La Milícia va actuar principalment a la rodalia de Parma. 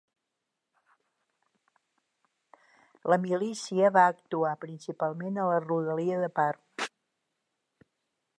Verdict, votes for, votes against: rejected, 0, 3